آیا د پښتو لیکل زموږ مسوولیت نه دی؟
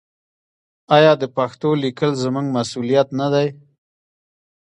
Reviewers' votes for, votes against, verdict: 2, 0, accepted